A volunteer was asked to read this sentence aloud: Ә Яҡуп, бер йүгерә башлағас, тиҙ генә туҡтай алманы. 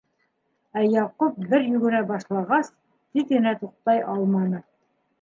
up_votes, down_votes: 2, 0